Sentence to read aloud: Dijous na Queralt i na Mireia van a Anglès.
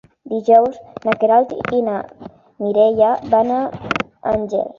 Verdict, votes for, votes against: rejected, 0, 2